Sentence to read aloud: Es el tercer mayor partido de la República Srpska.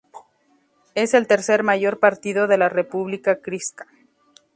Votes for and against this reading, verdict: 0, 2, rejected